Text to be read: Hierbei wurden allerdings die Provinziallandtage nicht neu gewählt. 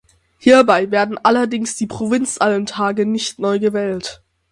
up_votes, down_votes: 0, 6